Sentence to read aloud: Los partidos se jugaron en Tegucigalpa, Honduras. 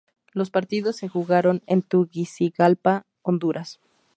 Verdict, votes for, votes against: rejected, 0, 2